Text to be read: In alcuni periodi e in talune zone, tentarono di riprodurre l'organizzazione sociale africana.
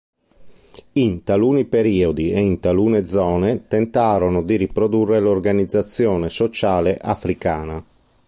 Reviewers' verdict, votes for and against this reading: rejected, 0, 2